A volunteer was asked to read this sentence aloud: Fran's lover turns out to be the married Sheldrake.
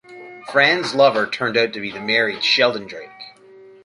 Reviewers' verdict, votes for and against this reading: rejected, 0, 2